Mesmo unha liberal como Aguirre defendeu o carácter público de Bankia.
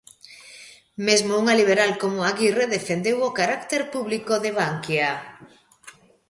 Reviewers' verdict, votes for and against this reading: accepted, 2, 0